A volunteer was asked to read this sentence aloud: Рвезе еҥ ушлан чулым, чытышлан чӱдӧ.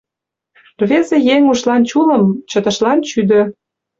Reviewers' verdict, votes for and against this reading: rejected, 1, 2